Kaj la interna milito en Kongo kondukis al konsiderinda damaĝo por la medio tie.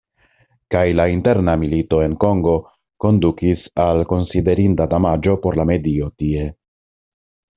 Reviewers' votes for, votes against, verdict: 2, 0, accepted